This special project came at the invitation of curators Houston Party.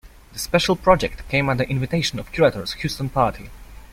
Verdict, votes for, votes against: accepted, 2, 0